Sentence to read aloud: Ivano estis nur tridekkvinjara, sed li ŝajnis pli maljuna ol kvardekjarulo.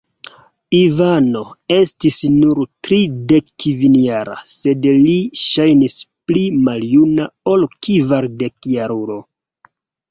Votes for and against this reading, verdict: 2, 0, accepted